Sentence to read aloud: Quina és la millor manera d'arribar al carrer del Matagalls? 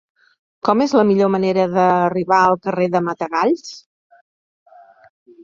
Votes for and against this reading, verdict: 1, 2, rejected